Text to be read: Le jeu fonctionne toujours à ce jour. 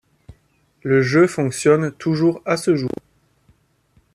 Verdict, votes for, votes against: accepted, 2, 0